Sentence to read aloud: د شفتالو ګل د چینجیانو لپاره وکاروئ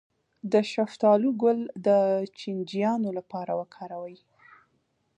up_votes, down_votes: 2, 0